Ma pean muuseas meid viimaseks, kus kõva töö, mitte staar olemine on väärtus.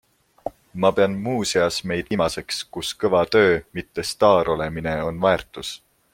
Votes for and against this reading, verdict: 2, 0, accepted